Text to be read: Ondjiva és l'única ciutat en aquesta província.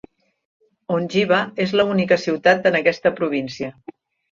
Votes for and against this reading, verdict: 1, 2, rejected